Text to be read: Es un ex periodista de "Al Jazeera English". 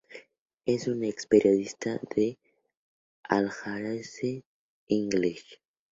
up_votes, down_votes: 0, 2